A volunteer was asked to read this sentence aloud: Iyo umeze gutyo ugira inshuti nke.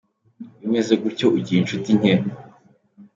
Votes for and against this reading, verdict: 2, 0, accepted